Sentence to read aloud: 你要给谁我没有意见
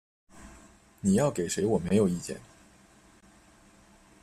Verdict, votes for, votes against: accepted, 2, 0